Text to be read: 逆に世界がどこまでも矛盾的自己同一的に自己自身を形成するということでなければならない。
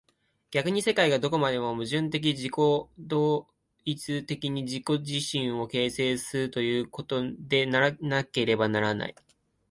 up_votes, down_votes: 0, 3